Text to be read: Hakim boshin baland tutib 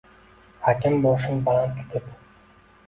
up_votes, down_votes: 2, 0